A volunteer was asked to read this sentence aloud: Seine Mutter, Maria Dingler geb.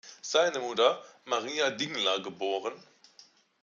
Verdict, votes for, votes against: accepted, 2, 1